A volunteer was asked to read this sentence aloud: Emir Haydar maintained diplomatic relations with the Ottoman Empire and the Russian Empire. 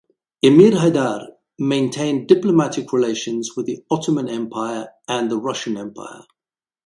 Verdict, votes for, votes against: accepted, 4, 0